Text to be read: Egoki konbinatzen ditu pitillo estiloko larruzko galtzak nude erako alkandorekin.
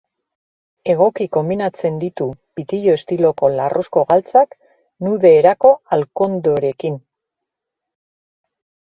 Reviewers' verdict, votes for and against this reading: accepted, 2, 1